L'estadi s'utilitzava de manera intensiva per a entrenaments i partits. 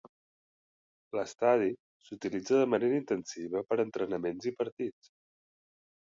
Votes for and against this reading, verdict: 0, 2, rejected